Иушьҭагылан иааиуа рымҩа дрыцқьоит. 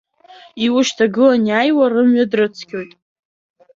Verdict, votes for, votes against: accepted, 3, 1